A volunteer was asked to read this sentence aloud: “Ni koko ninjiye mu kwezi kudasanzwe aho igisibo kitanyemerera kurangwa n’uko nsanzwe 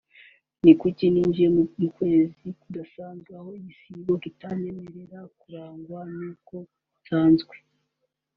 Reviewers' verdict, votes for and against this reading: rejected, 1, 2